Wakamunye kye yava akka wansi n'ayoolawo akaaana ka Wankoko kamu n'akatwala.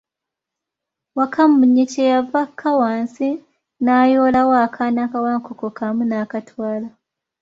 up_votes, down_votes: 2, 0